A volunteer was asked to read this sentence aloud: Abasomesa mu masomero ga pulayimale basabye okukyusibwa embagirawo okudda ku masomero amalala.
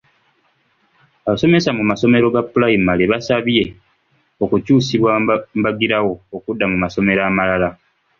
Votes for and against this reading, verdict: 2, 0, accepted